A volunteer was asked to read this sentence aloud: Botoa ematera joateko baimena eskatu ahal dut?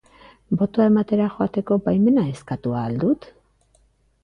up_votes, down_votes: 2, 0